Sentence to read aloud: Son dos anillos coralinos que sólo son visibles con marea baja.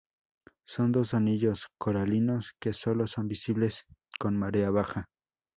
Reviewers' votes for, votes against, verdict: 2, 0, accepted